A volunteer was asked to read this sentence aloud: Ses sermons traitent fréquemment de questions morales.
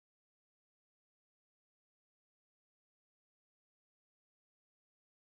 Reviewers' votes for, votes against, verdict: 0, 2, rejected